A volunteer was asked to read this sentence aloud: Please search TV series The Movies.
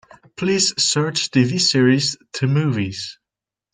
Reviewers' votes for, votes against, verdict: 2, 1, accepted